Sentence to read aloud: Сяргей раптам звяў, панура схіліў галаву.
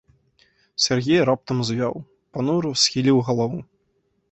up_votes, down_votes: 2, 1